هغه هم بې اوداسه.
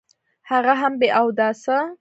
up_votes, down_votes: 0, 2